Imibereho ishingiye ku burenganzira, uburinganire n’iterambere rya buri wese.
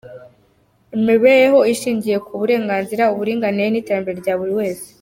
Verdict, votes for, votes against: accepted, 2, 0